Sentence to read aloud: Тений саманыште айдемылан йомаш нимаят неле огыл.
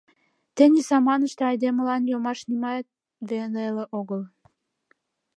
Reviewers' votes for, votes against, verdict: 0, 2, rejected